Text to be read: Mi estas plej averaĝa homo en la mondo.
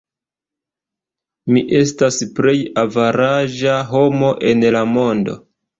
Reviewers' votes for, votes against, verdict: 0, 2, rejected